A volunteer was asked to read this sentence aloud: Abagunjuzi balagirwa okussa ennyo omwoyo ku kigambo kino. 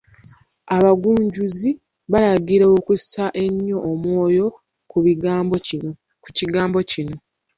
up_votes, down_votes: 0, 2